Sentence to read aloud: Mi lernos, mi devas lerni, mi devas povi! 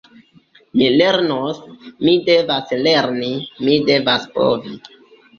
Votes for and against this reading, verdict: 2, 0, accepted